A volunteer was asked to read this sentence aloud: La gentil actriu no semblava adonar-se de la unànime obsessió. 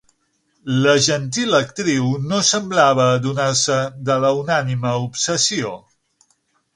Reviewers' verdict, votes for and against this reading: accepted, 6, 0